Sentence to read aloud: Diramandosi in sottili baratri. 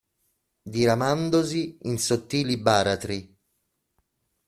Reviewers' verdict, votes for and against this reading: accepted, 2, 0